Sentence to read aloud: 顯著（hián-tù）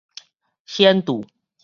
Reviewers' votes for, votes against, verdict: 2, 2, rejected